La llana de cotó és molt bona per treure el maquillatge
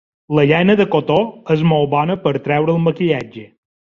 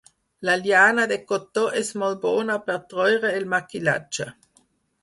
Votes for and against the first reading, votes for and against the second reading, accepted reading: 2, 0, 2, 4, first